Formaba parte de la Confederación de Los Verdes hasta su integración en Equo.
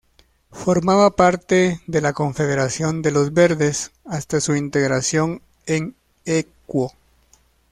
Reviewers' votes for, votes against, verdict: 2, 0, accepted